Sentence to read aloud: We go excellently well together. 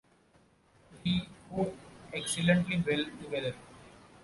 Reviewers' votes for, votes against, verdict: 2, 1, accepted